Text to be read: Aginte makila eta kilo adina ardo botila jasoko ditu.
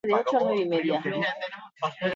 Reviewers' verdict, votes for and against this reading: rejected, 0, 2